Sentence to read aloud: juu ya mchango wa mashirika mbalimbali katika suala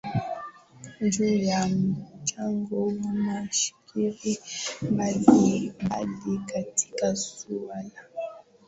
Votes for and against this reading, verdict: 2, 5, rejected